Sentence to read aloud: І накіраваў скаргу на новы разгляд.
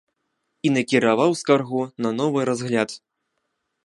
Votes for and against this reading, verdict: 2, 0, accepted